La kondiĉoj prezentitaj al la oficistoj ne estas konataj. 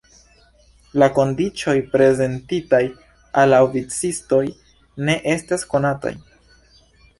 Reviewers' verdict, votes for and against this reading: accepted, 2, 0